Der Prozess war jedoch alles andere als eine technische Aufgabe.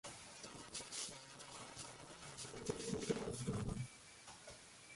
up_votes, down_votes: 0, 2